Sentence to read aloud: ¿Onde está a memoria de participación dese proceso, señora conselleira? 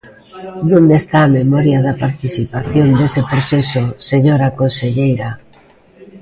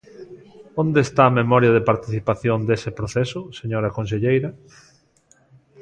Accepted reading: second